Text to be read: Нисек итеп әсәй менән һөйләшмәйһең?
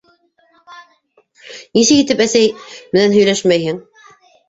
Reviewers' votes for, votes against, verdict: 1, 2, rejected